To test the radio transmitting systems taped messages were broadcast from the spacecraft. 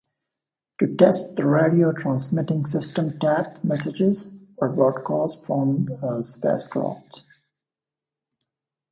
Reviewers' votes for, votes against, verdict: 1, 2, rejected